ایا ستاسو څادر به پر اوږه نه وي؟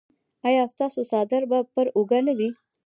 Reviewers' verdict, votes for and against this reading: rejected, 1, 2